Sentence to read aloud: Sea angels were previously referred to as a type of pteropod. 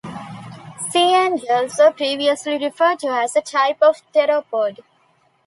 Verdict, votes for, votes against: accepted, 2, 1